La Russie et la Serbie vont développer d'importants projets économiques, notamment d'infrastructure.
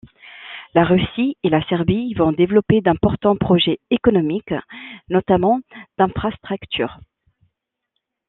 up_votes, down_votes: 1, 2